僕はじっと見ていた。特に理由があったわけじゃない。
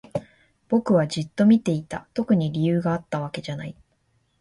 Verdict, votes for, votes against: accepted, 3, 0